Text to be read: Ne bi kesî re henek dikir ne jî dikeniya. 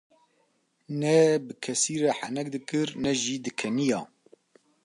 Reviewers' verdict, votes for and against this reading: accepted, 2, 0